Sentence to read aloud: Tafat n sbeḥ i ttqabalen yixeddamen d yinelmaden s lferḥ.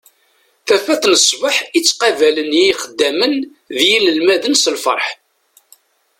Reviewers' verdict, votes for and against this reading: accepted, 2, 0